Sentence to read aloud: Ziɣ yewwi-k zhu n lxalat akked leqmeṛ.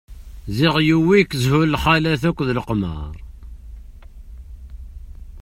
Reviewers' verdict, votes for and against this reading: accepted, 2, 0